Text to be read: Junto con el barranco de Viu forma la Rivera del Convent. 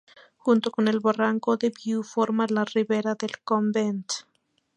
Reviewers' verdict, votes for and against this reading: accepted, 2, 0